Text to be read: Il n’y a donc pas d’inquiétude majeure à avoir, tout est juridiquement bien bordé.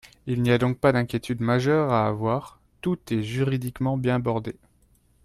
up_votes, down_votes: 2, 0